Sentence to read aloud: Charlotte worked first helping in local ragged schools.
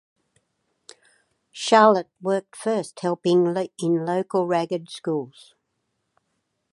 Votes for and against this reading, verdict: 4, 0, accepted